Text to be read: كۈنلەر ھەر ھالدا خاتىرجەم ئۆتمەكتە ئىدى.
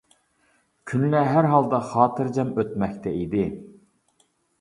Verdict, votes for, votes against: accepted, 2, 0